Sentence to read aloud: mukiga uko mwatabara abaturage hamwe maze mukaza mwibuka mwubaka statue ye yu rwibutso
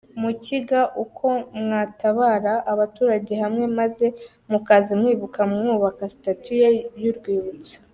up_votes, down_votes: 2, 0